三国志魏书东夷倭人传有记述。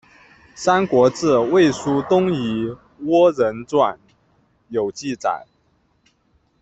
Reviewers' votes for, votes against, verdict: 1, 2, rejected